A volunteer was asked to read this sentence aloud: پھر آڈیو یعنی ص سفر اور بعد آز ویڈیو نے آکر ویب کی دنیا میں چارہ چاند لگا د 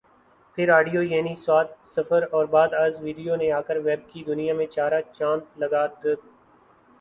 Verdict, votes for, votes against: accepted, 5, 0